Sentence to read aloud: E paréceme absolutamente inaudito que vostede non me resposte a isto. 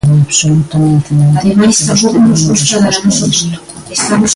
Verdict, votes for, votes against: rejected, 0, 2